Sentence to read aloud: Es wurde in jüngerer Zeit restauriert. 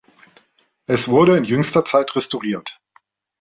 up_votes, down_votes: 1, 2